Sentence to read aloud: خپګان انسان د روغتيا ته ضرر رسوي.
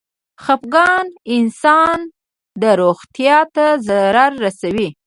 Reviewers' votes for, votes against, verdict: 0, 2, rejected